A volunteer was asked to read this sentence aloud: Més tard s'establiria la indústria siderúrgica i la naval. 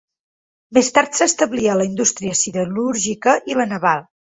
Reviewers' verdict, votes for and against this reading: rejected, 3, 6